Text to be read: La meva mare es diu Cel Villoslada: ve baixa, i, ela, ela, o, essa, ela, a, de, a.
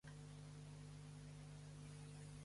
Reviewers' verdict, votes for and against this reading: rejected, 1, 2